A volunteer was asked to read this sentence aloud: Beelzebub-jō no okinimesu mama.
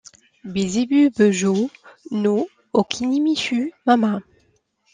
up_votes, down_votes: 2, 0